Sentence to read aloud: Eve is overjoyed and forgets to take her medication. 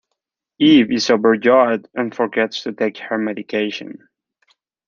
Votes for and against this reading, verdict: 2, 0, accepted